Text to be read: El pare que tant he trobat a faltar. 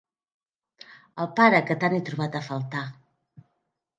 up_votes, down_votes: 2, 0